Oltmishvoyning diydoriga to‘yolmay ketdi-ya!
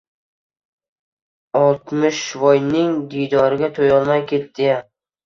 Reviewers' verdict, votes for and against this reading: accepted, 2, 0